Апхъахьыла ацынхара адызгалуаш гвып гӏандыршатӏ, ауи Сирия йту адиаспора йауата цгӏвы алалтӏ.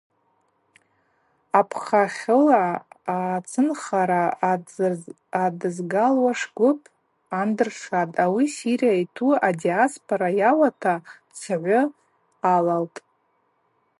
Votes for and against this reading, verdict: 2, 2, rejected